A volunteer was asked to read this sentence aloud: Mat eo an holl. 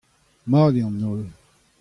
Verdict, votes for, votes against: accepted, 2, 0